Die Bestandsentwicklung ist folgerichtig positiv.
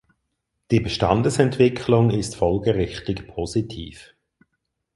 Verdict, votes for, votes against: rejected, 2, 4